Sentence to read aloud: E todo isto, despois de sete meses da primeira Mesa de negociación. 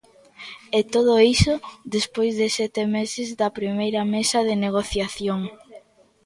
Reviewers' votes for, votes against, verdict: 0, 2, rejected